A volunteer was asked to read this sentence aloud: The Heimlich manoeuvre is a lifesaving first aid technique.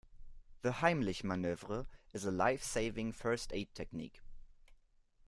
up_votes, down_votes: 2, 0